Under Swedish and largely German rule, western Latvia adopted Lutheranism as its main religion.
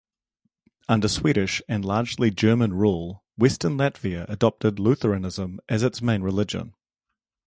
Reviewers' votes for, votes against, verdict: 2, 0, accepted